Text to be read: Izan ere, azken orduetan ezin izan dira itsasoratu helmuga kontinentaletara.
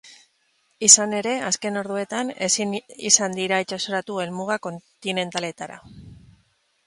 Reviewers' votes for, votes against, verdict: 0, 2, rejected